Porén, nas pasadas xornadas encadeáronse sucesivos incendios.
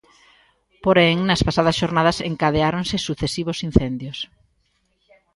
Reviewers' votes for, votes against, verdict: 3, 0, accepted